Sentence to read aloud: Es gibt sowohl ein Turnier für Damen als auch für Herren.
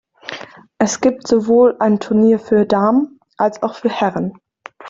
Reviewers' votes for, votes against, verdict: 2, 0, accepted